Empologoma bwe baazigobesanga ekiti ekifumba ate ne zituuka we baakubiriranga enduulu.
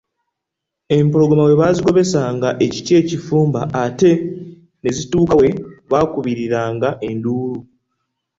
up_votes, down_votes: 2, 0